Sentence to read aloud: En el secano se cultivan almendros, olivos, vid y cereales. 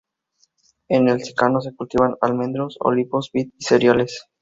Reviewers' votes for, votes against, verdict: 2, 0, accepted